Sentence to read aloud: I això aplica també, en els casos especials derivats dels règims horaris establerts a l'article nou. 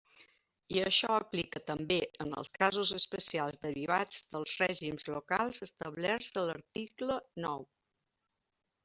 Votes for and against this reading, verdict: 1, 2, rejected